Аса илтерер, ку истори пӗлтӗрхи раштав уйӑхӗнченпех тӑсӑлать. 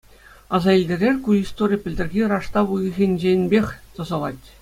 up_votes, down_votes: 2, 0